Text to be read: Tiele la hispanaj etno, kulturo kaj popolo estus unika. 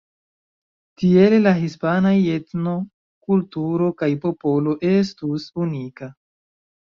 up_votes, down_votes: 2, 0